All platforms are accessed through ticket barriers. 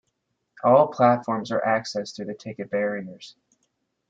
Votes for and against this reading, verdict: 0, 2, rejected